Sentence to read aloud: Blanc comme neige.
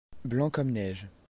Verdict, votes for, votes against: accepted, 2, 0